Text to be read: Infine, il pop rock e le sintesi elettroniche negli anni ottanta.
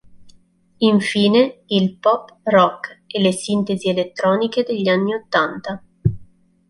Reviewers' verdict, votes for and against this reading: rejected, 2, 3